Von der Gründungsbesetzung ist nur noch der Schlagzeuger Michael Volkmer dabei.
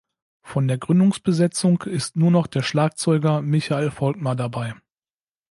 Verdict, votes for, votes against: accepted, 2, 0